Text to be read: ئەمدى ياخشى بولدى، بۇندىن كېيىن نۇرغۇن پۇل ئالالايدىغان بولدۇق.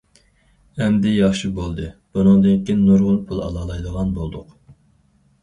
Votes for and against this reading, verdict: 0, 4, rejected